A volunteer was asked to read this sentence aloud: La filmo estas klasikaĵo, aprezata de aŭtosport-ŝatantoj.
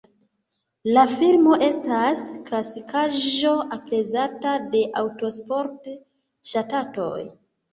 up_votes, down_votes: 2, 3